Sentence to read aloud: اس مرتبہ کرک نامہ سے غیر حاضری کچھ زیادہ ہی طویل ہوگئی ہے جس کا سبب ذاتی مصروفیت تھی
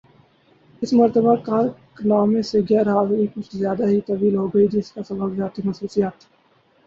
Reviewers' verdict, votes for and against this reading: accepted, 4, 2